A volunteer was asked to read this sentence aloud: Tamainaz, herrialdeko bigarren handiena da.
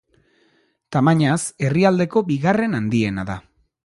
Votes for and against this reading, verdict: 2, 0, accepted